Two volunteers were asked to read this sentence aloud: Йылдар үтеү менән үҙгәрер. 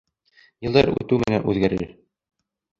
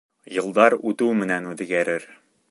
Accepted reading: second